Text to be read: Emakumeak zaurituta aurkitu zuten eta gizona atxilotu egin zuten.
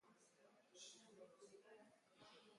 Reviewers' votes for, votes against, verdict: 0, 2, rejected